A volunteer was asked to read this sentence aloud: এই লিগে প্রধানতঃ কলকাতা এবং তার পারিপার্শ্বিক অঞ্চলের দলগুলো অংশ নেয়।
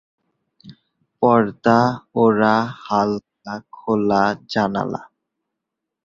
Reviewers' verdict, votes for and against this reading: rejected, 0, 3